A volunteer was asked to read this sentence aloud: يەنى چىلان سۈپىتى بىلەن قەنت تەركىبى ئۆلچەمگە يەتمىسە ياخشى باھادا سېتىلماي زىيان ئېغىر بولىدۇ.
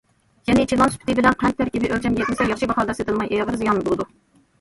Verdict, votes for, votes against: rejected, 1, 2